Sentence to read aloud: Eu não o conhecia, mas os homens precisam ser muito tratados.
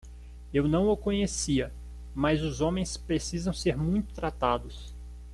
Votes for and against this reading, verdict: 2, 0, accepted